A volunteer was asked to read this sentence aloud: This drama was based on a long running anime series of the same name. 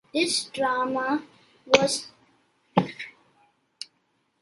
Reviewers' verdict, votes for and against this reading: rejected, 0, 2